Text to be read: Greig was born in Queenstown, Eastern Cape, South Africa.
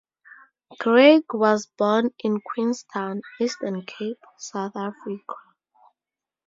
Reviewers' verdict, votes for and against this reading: accepted, 4, 0